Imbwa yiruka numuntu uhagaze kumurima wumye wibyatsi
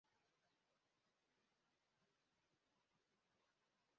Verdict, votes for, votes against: rejected, 0, 2